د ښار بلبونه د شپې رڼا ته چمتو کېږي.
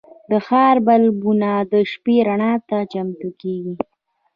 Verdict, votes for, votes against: accepted, 2, 0